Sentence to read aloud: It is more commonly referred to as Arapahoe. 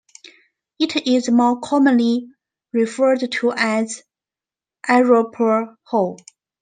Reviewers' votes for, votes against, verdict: 1, 2, rejected